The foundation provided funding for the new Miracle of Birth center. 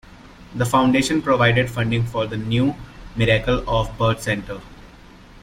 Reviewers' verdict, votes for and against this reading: accepted, 2, 0